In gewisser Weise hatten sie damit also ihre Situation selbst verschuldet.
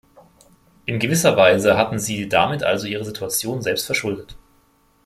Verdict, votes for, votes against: accepted, 2, 0